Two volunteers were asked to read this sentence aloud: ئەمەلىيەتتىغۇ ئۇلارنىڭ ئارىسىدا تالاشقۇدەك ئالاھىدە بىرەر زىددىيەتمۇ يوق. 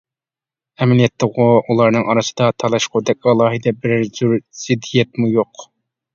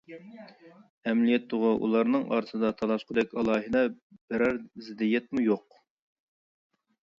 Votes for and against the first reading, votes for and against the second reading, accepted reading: 1, 2, 2, 0, second